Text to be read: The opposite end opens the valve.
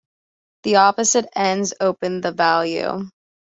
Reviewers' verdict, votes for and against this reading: rejected, 1, 2